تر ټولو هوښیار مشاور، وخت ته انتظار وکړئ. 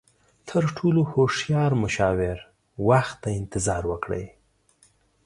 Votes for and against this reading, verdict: 2, 0, accepted